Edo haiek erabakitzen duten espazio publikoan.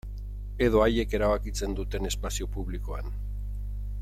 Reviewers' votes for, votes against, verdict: 2, 0, accepted